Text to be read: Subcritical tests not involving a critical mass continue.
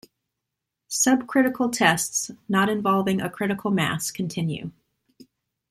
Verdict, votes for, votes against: accepted, 2, 0